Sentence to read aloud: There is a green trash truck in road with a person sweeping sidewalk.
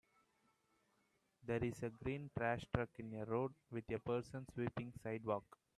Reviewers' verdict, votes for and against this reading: rejected, 0, 2